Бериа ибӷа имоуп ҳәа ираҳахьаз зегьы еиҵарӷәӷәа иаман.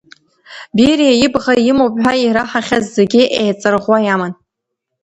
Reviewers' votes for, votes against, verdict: 2, 1, accepted